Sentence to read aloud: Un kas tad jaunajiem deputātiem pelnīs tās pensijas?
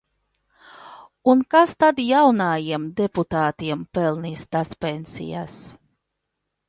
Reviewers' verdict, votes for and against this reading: rejected, 0, 2